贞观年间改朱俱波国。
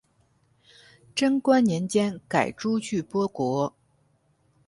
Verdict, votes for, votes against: accepted, 6, 0